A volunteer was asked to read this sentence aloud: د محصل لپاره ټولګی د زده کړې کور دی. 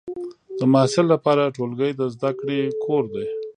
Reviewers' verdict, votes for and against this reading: accepted, 3, 1